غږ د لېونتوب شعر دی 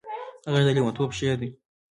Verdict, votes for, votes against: rejected, 0, 2